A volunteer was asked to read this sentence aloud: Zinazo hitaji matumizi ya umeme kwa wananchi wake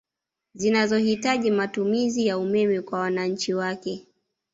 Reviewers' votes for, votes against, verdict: 0, 2, rejected